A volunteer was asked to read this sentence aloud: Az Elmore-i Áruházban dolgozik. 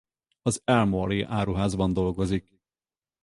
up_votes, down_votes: 4, 0